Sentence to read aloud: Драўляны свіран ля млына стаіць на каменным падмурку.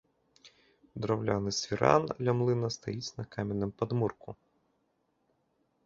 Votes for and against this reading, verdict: 1, 2, rejected